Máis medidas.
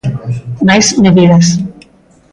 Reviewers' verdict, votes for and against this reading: accepted, 3, 0